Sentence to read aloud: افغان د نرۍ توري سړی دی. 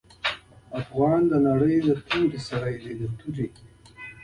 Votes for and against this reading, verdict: 2, 0, accepted